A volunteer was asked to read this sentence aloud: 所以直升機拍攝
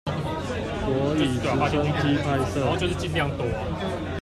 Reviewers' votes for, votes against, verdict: 0, 2, rejected